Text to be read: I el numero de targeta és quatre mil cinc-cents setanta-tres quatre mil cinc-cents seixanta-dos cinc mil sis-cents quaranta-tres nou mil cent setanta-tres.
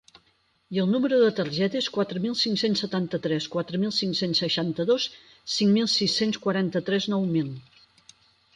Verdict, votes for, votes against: rejected, 0, 12